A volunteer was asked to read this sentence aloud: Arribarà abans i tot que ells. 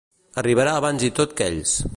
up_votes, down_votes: 2, 0